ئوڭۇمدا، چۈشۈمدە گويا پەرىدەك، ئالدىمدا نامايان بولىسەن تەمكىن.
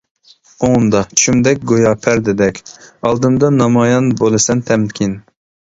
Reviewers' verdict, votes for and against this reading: rejected, 0, 2